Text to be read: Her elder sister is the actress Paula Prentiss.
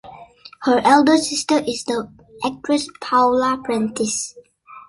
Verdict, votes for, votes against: accepted, 2, 0